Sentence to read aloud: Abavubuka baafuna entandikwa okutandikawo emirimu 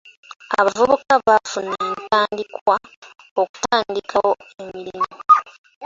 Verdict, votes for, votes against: rejected, 1, 2